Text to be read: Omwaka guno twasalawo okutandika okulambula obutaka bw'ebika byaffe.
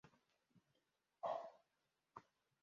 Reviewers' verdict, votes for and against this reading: rejected, 1, 2